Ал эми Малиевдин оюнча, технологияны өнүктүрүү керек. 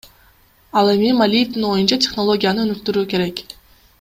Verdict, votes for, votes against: accepted, 2, 0